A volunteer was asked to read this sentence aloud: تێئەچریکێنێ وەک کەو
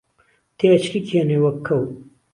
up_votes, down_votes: 2, 0